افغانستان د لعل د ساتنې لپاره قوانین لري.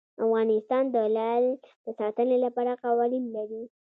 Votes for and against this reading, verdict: 2, 0, accepted